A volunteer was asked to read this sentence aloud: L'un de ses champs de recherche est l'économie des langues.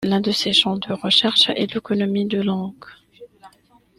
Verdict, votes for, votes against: rejected, 1, 2